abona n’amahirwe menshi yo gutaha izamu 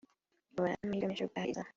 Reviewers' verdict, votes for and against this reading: rejected, 0, 2